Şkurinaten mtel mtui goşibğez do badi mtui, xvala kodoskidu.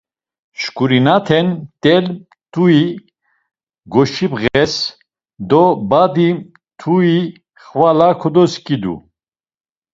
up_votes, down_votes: 1, 2